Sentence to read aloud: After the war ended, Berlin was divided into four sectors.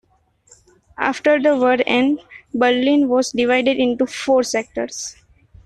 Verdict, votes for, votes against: rejected, 0, 2